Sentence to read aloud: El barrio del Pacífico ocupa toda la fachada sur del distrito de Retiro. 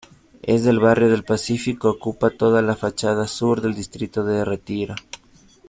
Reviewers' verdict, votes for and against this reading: rejected, 1, 2